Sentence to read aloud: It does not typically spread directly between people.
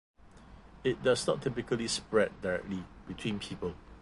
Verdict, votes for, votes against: rejected, 0, 2